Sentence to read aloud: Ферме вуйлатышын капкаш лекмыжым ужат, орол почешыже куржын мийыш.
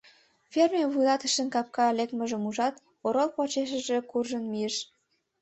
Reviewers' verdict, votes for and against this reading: rejected, 1, 2